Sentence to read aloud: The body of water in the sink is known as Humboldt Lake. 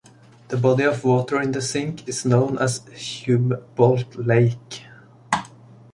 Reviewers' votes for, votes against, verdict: 0, 2, rejected